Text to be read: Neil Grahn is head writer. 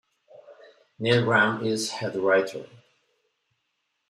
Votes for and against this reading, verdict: 2, 0, accepted